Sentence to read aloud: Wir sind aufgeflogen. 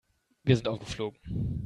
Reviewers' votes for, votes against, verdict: 1, 2, rejected